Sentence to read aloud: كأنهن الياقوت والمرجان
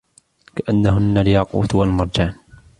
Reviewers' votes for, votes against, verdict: 2, 1, accepted